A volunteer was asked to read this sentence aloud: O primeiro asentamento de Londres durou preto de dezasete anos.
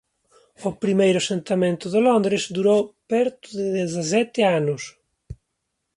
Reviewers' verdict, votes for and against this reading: rejected, 0, 2